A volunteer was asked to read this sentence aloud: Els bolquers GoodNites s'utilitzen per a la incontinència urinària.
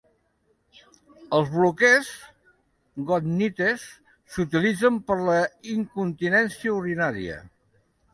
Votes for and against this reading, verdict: 1, 2, rejected